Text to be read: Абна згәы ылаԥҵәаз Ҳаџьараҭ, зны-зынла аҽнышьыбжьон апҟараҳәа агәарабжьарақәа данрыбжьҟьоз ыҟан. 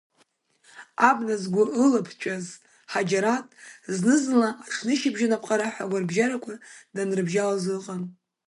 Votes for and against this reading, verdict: 0, 2, rejected